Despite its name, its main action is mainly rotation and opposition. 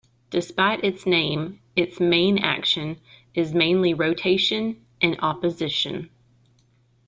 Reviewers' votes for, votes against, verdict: 2, 0, accepted